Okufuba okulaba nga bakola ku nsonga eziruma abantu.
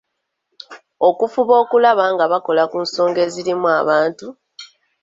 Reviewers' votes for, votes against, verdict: 1, 2, rejected